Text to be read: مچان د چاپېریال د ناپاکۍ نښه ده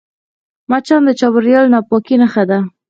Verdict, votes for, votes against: accepted, 4, 0